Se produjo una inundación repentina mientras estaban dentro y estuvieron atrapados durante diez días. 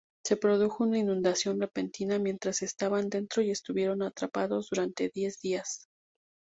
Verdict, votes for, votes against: accepted, 2, 0